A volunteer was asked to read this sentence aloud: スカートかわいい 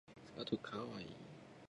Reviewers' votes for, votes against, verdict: 1, 2, rejected